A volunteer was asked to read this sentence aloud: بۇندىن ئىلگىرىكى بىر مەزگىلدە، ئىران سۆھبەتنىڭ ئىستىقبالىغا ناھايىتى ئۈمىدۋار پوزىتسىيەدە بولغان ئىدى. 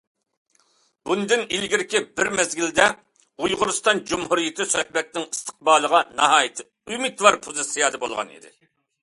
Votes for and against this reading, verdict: 0, 2, rejected